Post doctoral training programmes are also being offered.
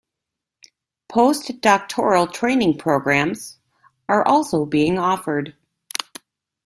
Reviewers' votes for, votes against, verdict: 2, 0, accepted